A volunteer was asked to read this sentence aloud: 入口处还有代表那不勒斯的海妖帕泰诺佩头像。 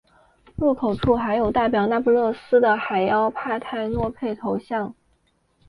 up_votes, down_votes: 2, 0